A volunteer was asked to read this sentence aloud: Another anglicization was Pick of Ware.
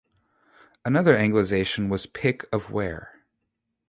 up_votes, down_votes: 2, 0